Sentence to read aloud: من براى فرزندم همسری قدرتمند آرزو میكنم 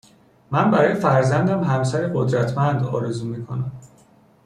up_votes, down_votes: 2, 1